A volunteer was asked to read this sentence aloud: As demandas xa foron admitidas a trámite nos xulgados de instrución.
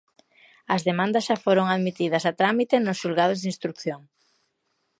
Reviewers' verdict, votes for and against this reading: accepted, 2, 0